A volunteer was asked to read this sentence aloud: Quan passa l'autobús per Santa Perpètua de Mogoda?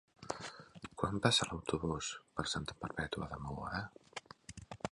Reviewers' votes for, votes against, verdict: 1, 2, rejected